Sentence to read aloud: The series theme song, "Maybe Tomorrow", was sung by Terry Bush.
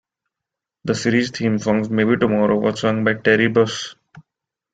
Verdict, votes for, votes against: rejected, 0, 2